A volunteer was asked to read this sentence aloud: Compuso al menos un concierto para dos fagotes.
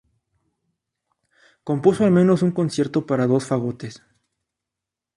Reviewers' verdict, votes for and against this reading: accepted, 2, 0